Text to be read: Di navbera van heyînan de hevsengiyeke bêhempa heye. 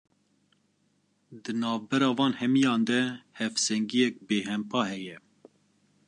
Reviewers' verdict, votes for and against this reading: rejected, 1, 2